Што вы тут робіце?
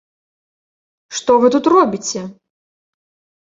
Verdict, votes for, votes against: accepted, 2, 0